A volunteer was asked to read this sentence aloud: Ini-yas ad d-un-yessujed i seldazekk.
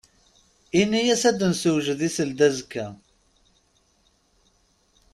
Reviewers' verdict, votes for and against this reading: accepted, 2, 0